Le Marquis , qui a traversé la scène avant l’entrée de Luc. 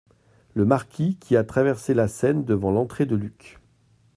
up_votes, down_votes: 1, 2